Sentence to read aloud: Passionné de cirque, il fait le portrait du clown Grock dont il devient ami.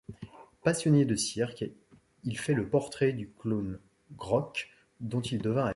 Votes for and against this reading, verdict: 1, 2, rejected